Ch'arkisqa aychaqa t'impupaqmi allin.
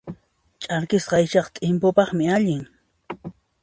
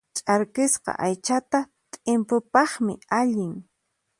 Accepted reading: first